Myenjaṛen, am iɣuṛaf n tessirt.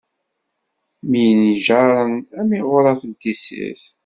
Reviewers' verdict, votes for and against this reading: accepted, 2, 0